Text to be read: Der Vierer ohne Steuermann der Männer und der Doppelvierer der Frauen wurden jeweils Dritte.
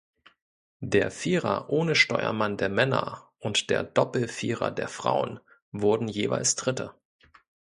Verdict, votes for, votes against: accepted, 2, 0